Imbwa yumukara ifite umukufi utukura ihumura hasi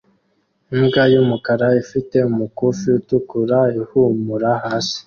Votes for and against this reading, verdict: 2, 0, accepted